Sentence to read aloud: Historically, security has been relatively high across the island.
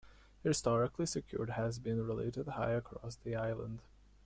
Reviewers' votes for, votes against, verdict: 1, 2, rejected